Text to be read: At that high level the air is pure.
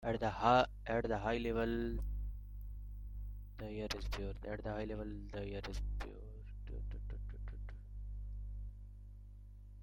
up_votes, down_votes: 0, 2